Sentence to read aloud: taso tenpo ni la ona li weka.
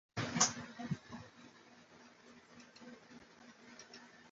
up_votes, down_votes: 0, 2